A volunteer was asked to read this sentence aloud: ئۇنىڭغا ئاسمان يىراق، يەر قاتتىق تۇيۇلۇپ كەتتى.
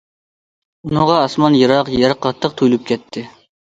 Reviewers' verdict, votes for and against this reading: accepted, 2, 0